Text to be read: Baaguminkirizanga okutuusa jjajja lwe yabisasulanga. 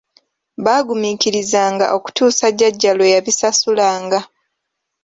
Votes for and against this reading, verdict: 2, 0, accepted